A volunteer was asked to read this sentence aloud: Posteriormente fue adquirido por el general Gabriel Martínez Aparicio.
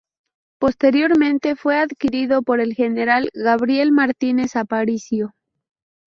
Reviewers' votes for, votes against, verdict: 0, 2, rejected